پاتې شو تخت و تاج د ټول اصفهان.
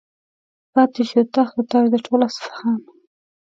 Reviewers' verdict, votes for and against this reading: accepted, 2, 0